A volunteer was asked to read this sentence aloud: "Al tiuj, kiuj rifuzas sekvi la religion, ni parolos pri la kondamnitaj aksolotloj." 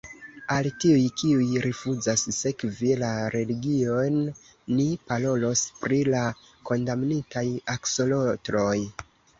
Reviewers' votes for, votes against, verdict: 0, 2, rejected